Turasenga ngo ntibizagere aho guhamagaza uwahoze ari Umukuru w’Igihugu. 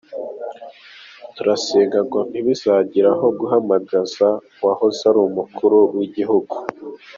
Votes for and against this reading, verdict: 2, 1, accepted